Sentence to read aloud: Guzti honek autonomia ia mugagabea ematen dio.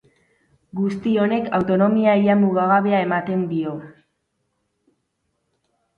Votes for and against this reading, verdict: 6, 0, accepted